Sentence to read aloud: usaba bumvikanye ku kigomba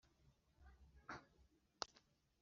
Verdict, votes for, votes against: rejected, 2, 3